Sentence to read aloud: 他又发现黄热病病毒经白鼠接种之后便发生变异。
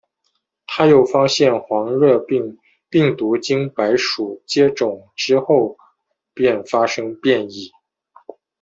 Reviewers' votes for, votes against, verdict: 2, 0, accepted